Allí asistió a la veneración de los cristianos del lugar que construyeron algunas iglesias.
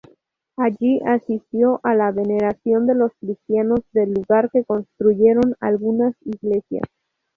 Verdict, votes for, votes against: accepted, 2, 0